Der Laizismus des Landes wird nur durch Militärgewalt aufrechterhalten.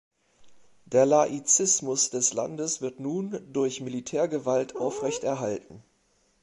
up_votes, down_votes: 0, 2